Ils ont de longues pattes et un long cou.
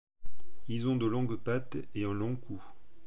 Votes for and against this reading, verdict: 2, 0, accepted